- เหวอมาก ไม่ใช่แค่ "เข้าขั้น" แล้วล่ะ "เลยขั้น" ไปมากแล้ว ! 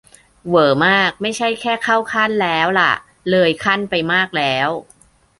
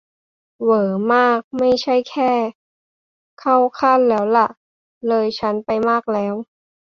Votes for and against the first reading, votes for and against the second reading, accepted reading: 2, 0, 1, 2, first